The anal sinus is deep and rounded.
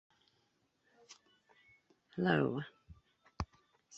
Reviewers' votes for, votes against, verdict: 0, 2, rejected